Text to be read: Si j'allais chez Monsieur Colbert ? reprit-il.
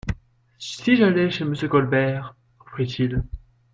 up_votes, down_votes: 2, 0